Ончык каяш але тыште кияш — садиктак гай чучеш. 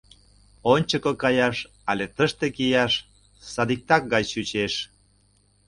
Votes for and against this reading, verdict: 0, 2, rejected